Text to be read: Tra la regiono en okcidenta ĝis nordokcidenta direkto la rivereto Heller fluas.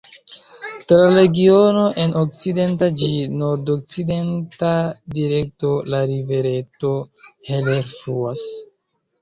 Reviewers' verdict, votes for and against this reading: rejected, 0, 2